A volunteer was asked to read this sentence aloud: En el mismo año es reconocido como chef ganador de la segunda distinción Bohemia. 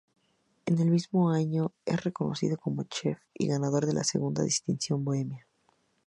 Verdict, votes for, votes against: rejected, 0, 2